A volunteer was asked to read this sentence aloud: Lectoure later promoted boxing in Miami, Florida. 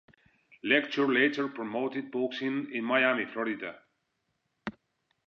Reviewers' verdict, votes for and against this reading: accepted, 2, 0